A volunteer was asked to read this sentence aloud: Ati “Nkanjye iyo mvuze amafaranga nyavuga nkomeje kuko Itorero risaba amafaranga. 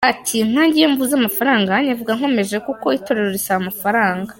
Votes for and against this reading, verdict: 2, 1, accepted